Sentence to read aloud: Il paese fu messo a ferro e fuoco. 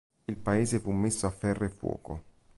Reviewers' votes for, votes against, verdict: 2, 0, accepted